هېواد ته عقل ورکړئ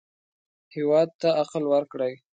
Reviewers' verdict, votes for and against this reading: accepted, 2, 0